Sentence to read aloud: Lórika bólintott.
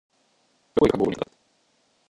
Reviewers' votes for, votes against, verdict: 0, 2, rejected